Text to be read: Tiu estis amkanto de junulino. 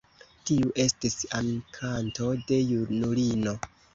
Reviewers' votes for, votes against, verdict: 2, 0, accepted